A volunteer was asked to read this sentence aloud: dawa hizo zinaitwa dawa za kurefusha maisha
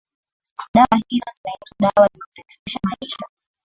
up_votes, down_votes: 2, 0